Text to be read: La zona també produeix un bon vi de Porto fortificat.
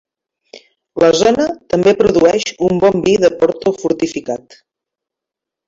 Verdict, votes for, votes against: accepted, 2, 1